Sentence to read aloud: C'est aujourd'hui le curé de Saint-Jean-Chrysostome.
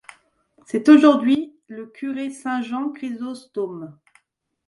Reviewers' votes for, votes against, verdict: 0, 2, rejected